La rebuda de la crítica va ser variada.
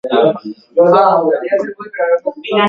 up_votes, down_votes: 0, 2